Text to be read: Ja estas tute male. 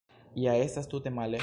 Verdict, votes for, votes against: accepted, 2, 0